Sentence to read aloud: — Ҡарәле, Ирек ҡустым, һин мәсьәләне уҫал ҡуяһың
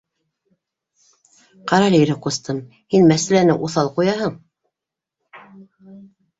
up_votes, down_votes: 2, 0